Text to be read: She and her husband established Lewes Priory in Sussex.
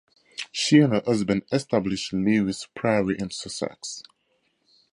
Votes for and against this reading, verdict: 4, 2, accepted